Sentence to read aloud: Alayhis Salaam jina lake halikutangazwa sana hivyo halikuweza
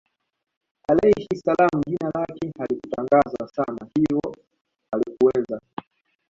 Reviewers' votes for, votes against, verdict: 1, 2, rejected